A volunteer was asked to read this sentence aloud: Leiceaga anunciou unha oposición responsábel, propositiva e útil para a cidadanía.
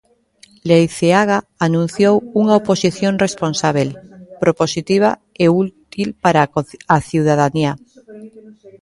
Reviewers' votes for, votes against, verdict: 0, 2, rejected